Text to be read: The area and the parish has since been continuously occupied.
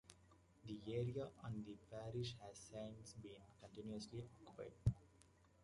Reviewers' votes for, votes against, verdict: 1, 2, rejected